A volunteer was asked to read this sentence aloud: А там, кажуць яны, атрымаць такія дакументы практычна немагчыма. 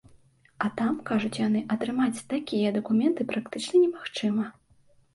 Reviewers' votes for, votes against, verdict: 2, 0, accepted